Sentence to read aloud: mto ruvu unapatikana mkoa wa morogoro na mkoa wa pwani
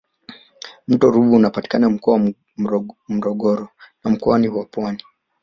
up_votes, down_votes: 0, 2